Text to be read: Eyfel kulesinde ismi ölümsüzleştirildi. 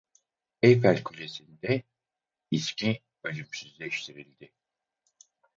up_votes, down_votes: 0, 4